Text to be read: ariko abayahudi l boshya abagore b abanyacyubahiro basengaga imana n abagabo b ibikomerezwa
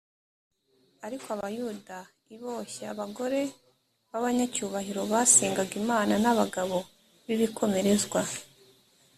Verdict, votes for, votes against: rejected, 0, 3